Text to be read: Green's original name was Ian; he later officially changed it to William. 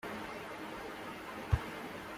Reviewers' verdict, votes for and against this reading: rejected, 0, 2